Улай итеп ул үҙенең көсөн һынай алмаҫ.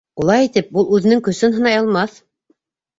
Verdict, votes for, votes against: accepted, 2, 1